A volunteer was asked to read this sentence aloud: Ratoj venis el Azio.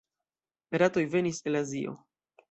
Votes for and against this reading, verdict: 2, 1, accepted